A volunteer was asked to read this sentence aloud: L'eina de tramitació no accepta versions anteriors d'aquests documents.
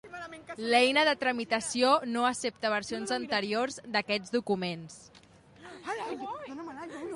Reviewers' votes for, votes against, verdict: 2, 1, accepted